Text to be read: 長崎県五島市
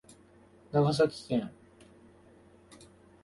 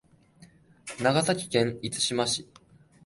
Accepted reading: second